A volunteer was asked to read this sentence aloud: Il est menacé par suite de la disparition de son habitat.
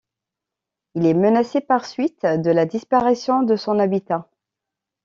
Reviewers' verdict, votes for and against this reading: accepted, 2, 0